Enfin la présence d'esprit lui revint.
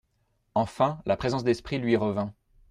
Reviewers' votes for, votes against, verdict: 2, 0, accepted